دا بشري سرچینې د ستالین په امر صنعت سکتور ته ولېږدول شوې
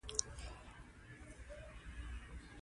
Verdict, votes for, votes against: rejected, 0, 2